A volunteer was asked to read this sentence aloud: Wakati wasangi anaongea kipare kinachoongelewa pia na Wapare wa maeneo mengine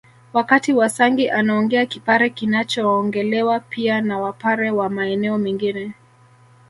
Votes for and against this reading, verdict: 2, 0, accepted